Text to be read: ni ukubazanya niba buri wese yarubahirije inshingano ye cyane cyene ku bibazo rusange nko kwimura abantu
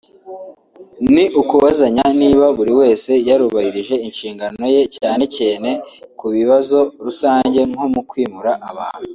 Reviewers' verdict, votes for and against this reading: rejected, 0, 2